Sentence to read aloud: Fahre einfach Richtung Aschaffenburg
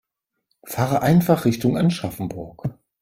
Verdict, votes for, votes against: rejected, 0, 3